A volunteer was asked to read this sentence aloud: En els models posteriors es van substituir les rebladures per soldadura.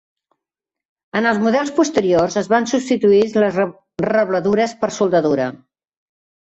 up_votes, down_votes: 1, 2